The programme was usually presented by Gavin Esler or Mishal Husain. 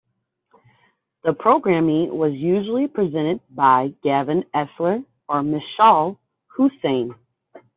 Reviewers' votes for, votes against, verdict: 0, 2, rejected